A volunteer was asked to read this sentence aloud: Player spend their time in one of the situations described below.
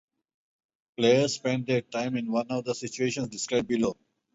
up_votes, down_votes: 2, 0